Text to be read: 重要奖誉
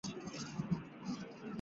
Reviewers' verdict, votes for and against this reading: rejected, 1, 2